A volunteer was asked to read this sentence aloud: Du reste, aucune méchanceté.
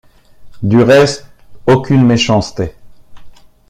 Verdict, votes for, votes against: accepted, 2, 1